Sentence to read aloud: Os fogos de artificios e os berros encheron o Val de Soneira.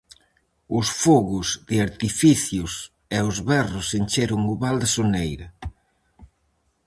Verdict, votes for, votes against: rejected, 2, 2